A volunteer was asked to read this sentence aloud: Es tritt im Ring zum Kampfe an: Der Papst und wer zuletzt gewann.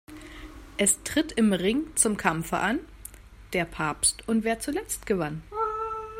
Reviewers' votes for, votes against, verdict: 1, 2, rejected